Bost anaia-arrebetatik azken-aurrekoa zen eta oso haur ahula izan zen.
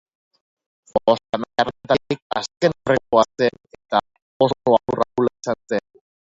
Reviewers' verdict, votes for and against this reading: rejected, 0, 2